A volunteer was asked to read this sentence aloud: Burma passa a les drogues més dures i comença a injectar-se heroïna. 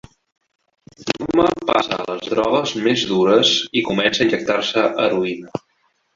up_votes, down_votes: 0, 2